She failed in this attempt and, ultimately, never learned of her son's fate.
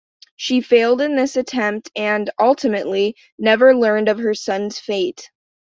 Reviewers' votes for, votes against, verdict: 2, 0, accepted